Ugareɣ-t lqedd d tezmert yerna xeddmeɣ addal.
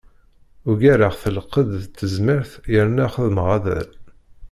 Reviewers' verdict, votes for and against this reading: rejected, 0, 2